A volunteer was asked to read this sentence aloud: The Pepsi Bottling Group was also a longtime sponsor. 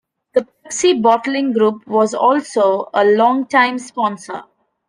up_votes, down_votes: 1, 2